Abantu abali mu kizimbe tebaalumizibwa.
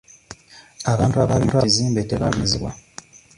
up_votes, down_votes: 0, 2